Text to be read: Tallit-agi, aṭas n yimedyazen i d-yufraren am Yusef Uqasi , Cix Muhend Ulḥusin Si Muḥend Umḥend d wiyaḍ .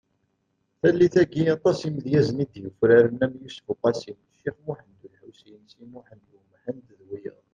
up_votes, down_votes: 1, 2